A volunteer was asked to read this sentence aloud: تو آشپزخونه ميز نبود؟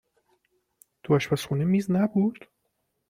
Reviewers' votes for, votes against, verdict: 2, 0, accepted